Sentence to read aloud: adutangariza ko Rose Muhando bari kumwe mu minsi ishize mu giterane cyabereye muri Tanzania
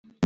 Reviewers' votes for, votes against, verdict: 0, 2, rejected